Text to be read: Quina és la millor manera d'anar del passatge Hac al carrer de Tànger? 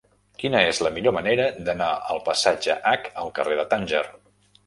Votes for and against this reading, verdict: 1, 2, rejected